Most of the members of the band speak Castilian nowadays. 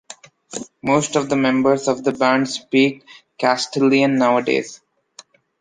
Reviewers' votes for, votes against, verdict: 2, 0, accepted